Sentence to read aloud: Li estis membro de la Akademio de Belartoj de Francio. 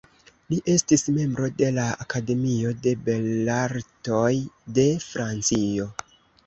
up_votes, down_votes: 1, 2